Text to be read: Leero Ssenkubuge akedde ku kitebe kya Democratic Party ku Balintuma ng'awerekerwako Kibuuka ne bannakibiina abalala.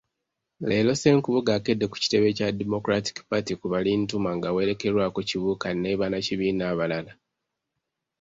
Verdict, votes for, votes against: accepted, 2, 0